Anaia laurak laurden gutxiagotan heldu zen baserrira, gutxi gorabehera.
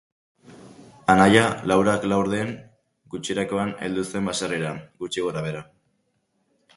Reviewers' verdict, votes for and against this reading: rejected, 0, 2